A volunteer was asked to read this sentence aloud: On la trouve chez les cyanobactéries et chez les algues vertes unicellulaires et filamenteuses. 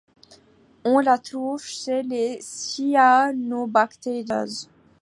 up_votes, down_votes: 0, 2